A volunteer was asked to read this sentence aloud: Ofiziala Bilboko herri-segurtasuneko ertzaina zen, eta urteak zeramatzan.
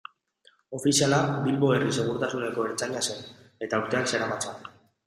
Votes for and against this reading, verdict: 0, 3, rejected